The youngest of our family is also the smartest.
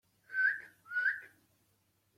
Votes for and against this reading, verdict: 0, 2, rejected